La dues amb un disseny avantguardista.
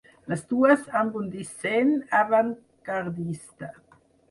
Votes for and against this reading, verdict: 2, 4, rejected